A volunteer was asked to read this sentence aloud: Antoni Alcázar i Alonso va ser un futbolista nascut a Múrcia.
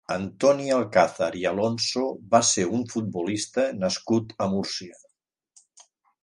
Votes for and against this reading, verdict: 3, 0, accepted